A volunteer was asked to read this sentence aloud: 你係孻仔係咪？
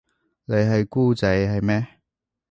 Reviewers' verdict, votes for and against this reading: rejected, 0, 2